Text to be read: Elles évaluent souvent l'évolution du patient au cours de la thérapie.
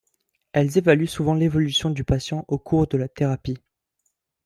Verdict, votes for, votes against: accepted, 3, 0